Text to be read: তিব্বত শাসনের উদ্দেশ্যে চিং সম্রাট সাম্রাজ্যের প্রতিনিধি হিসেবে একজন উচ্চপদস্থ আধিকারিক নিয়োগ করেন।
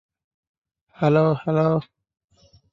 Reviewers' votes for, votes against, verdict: 0, 2, rejected